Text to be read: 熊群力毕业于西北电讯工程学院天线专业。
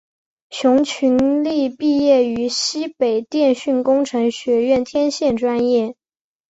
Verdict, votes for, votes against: accepted, 2, 1